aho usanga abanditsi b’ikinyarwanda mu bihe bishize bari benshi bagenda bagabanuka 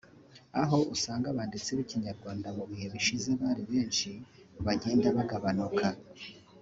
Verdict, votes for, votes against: rejected, 0, 2